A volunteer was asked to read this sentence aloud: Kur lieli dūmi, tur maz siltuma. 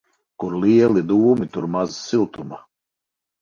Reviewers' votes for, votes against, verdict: 4, 0, accepted